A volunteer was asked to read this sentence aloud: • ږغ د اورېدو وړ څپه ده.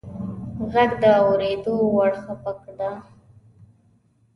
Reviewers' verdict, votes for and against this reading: rejected, 1, 2